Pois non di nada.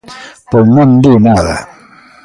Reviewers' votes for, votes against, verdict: 1, 2, rejected